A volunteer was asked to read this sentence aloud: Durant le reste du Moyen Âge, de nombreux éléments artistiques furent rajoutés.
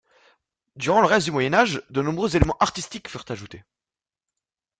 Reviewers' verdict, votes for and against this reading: rejected, 0, 2